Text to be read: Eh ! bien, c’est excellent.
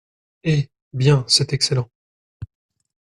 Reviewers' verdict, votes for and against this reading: accepted, 2, 0